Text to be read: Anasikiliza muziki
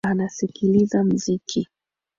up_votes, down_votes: 3, 0